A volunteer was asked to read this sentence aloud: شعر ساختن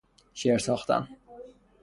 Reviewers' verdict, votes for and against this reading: accepted, 6, 0